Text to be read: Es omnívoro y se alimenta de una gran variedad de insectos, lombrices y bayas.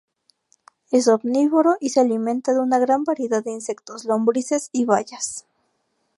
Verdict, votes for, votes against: rejected, 0, 2